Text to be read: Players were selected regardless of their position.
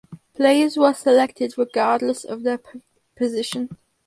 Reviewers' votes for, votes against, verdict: 2, 2, rejected